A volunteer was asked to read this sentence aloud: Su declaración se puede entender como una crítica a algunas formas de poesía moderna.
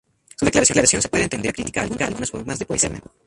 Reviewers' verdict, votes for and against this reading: rejected, 0, 2